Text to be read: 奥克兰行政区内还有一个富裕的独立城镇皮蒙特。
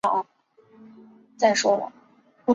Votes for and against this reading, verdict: 0, 2, rejected